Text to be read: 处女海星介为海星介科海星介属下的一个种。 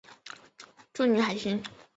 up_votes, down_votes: 0, 2